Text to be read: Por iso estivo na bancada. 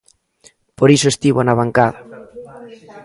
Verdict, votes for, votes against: rejected, 1, 2